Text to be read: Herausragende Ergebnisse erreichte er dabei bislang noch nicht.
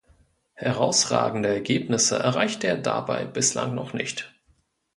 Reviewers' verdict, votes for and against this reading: accepted, 2, 0